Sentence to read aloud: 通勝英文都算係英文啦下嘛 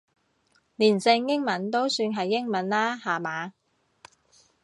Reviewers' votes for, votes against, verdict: 1, 2, rejected